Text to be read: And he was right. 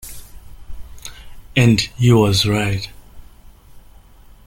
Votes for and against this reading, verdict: 2, 0, accepted